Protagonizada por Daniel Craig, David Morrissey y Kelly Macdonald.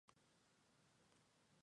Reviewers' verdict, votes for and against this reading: rejected, 0, 2